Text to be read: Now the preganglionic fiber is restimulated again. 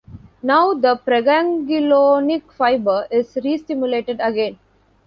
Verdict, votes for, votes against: rejected, 1, 2